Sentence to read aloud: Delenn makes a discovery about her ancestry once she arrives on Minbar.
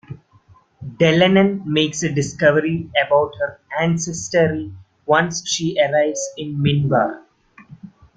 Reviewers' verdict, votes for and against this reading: rejected, 1, 2